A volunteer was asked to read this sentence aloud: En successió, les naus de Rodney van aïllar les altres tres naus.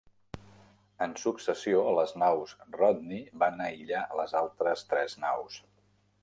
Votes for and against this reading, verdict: 1, 2, rejected